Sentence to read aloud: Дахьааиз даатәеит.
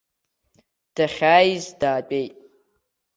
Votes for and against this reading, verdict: 2, 0, accepted